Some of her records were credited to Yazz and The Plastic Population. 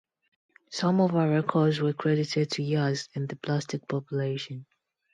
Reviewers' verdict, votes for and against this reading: accepted, 2, 0